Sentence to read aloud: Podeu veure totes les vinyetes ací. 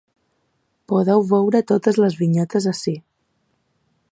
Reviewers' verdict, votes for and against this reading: accepted, 4, 0